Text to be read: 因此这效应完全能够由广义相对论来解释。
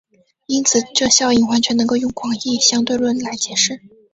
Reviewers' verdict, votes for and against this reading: accepted, 2, 0